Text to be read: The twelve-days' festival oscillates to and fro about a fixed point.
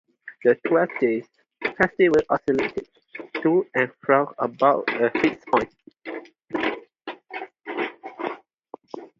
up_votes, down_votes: 2, 4